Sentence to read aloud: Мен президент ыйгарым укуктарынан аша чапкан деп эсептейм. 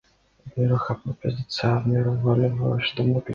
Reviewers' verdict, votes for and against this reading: rejected, 0, 2